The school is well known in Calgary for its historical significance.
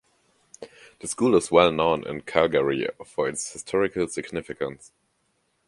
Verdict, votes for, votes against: accepted, 2, 0